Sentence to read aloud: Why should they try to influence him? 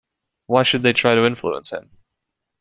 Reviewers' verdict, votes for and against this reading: accepted, 2, 0